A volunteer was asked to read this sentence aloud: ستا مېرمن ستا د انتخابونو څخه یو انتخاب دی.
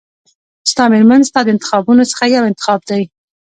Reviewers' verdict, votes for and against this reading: accepted, 2, 0